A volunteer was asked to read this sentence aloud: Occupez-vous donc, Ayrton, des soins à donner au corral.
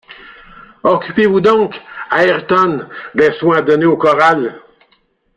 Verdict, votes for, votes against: rejected, 0, 2